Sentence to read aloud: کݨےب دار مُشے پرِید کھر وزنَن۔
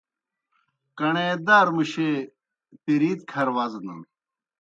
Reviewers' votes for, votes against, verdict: 0, 2, rejected